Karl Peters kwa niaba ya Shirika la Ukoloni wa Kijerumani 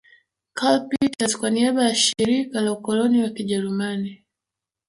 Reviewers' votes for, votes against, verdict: 0, 3, rejected